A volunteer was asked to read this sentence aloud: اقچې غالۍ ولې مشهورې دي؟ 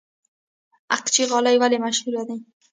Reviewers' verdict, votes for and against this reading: rejected, 1, 2